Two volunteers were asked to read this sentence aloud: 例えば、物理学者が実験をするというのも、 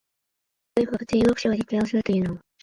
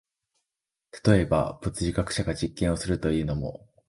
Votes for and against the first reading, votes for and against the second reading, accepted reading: 0, 2, 2, 0, second